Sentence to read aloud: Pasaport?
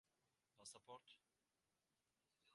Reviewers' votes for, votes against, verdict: 0, 2, rejected